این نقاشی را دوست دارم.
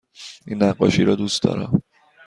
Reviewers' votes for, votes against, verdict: 2, 0, accepted